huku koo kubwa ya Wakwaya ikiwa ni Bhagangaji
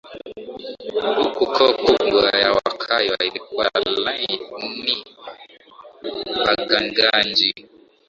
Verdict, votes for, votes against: rejected, 5, 7